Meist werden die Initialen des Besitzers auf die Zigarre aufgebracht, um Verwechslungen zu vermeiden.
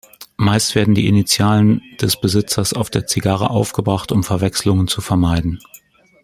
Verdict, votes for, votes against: rejected, 0, 2